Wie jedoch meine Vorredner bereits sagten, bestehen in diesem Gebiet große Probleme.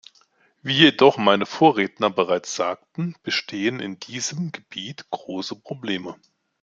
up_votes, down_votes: 2, 0